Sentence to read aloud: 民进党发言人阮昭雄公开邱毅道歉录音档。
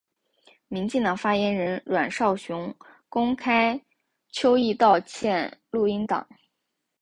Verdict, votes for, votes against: accepted, 2, 0